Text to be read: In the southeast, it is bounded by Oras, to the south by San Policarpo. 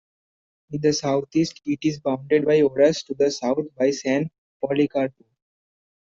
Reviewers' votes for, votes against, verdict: 2, 1, accepted